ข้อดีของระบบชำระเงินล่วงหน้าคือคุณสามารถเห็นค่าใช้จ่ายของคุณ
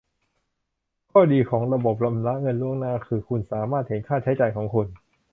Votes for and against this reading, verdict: 0, 2, rejected